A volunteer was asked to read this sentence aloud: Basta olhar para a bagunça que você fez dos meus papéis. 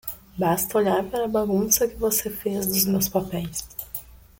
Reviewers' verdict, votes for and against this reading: accepted, 2, 0